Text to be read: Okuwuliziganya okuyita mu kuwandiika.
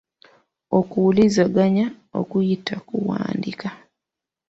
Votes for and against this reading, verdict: 0, 2, rejected